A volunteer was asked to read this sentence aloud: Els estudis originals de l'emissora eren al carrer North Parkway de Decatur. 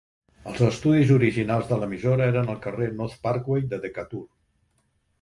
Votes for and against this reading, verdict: 0, 2, rejected